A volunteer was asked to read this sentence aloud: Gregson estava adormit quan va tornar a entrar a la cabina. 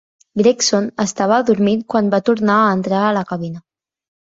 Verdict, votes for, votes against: accepted, 2, 0